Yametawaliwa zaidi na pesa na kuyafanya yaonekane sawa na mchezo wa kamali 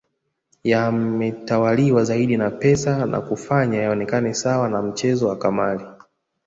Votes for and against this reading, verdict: 0, 2, rejected